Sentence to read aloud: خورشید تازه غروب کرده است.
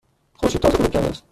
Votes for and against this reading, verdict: 1, 2, rejected